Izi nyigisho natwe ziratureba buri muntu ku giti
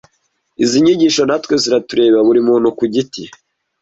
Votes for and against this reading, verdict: 2, 0, accepted